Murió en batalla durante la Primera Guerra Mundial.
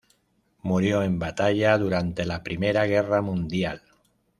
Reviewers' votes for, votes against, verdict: 3, 0, accepted